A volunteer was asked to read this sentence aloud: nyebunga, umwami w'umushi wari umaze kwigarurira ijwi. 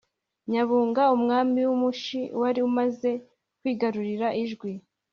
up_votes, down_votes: 2, 0